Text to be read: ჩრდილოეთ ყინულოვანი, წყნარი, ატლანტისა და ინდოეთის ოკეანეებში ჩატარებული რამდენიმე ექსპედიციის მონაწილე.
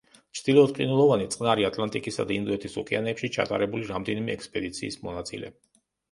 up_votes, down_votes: 1, 2